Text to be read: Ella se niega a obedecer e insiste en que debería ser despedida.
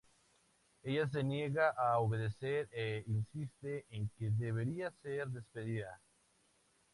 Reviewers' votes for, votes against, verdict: 2, 0, accepted